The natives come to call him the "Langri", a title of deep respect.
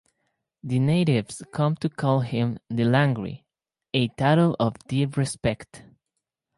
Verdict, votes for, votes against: accepted, 4, 0